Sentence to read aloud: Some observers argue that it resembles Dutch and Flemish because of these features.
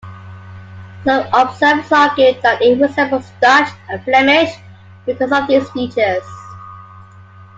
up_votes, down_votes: 2, 0